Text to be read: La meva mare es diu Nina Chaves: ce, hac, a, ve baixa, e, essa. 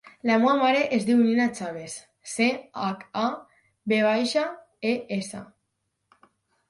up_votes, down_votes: 0, 4